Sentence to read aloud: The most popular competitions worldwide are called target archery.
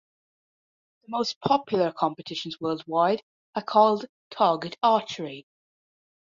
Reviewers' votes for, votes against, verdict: 2, 0, accepted